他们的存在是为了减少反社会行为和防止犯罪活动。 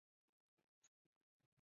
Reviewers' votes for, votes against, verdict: 0, 3, rejected